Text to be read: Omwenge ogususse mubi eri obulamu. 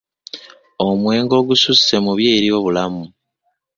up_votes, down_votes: 0, 2